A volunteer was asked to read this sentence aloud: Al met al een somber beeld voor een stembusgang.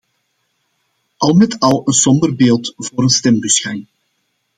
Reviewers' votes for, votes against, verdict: 2, 0, accepted